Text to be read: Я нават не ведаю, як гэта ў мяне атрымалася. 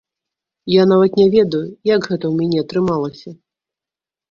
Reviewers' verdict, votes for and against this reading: rejected, 1, 2